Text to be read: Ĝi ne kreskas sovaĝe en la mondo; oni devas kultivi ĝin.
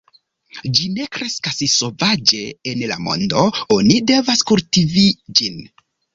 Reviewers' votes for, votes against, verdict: 2, 0, accepted